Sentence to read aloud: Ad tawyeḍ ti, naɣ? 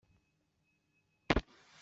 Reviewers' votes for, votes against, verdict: 0, 2, rejected